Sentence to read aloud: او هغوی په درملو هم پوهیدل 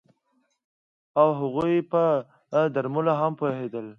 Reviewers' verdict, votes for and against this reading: accepted, 2, 0